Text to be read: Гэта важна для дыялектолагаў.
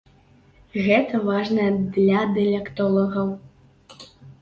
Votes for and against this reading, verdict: 1, 2, rejected